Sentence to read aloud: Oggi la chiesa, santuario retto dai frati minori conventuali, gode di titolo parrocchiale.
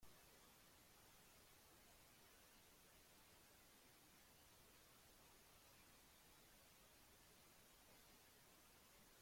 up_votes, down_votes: 0, 2